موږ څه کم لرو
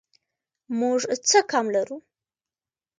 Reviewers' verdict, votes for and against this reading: accepted, 2, 1